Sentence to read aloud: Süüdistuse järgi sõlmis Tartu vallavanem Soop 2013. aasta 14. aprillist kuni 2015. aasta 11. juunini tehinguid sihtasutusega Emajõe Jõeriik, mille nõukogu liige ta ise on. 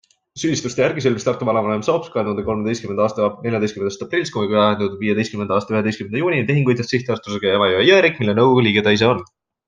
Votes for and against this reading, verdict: 0, 2, rejected